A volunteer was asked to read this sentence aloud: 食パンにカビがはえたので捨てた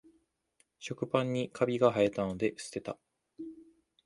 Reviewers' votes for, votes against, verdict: 2, 0, accepted